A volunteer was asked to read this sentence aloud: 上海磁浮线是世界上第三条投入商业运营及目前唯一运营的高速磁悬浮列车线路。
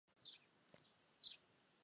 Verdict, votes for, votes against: rejected, 0, 2